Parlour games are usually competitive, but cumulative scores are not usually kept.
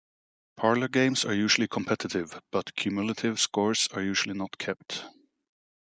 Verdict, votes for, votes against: rejected, 0, 2